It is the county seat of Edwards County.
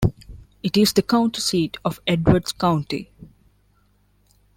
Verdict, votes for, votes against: accepted, 2, 0